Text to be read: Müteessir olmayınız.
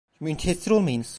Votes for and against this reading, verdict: 0, 2, rejected